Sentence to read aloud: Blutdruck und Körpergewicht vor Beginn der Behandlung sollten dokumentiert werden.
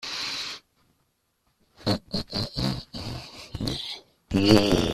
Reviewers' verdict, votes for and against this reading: rejected, 0, 2